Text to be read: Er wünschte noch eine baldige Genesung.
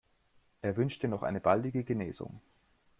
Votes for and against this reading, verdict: 2, 0, accepted